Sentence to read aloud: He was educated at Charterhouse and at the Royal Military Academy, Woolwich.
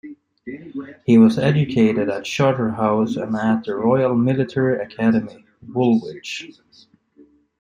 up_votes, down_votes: 0, 2